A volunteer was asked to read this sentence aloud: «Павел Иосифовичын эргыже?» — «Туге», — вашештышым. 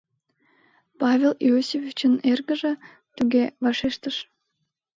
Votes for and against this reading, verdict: 0, 2, rejected